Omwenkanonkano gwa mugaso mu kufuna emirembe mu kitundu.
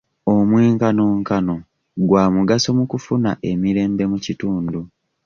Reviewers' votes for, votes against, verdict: 2, 0, accepted